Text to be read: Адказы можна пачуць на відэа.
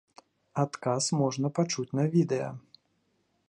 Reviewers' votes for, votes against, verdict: 0, 2, rejected